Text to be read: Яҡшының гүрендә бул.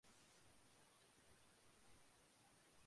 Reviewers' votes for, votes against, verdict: 0, 2, rejected